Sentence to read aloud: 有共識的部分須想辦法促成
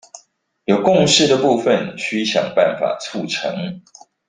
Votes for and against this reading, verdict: 2, 0, accepted